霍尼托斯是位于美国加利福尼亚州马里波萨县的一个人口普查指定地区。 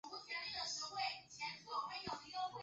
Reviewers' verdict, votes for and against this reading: rejected, 0, 2